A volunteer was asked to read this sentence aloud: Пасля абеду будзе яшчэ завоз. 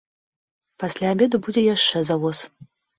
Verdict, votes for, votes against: accepted, 2, 0